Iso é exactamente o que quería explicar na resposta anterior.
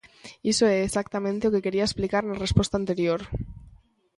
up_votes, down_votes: 2, 0